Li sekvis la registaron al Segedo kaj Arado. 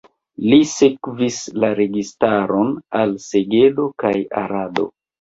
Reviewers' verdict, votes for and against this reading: accepted, 2, 0